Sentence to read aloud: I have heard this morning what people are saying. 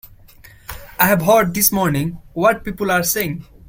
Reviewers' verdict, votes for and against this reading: accepted, 2, 0